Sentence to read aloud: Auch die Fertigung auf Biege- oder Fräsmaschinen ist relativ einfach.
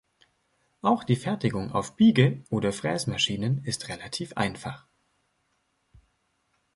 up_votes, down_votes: 2, 0